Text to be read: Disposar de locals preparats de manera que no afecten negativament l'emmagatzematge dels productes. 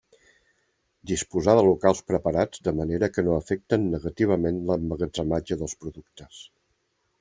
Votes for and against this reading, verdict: 2, 0, accepted